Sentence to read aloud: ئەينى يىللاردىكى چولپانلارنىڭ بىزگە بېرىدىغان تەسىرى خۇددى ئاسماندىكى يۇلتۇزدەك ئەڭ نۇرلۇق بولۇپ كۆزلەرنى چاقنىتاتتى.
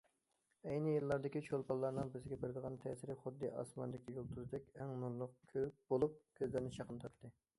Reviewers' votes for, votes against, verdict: 1, 2, rejected